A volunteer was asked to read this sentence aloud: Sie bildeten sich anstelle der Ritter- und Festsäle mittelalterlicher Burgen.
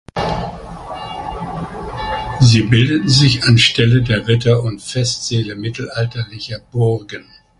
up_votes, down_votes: 2, 1